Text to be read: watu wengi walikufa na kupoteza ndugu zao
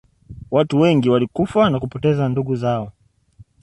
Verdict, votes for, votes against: accepted, 2, 0